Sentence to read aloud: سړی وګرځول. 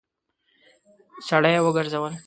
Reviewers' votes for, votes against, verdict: 0, 2, rejected